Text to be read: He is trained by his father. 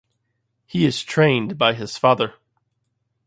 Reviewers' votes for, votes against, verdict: 2, 0, accepted